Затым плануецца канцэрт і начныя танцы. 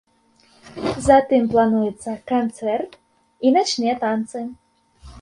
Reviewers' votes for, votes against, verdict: 2, 0, accepted